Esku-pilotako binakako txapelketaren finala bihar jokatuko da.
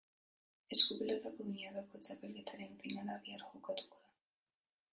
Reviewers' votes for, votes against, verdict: 1, 2, rejected